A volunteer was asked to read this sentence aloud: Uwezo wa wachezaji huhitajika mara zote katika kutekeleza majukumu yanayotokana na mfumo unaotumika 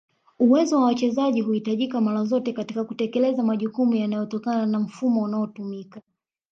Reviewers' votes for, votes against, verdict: 2, 1, accepted